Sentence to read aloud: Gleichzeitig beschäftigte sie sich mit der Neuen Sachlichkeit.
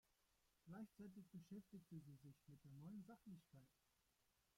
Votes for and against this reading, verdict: 0, 2, rejected